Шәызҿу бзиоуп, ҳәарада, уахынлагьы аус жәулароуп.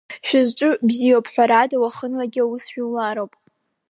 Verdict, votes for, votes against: accepted, 3, 0